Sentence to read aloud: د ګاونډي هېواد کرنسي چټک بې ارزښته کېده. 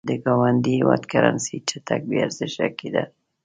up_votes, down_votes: 1, 2